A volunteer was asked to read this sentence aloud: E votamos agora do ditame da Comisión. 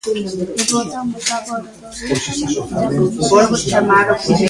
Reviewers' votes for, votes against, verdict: 0, 2, rejected